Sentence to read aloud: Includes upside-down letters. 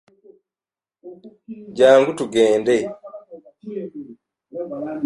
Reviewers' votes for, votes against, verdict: 0, 2, rejected